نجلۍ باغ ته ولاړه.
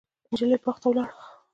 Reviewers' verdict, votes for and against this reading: accepted, 2, 0